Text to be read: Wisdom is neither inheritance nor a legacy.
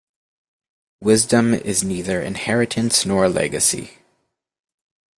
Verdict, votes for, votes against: accepted, 2, 0